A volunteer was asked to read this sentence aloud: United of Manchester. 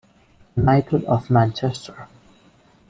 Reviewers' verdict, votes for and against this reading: rejected, 0, 2